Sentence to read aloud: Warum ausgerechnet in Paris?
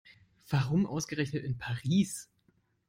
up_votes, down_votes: 2, 0